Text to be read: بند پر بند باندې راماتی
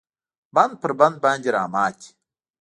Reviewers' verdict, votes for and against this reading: rejected, 0, 2